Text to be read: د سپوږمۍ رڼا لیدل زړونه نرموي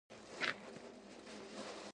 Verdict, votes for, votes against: accepted, 2, 0